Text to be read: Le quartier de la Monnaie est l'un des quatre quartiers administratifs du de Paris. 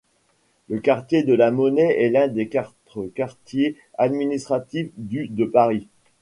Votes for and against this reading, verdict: 0, 2, rejected